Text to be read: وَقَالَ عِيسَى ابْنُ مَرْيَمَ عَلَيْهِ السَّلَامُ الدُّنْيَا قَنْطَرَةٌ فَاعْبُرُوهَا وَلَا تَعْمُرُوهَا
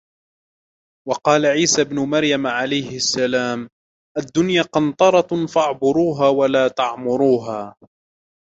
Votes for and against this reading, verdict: 0, 2, rejected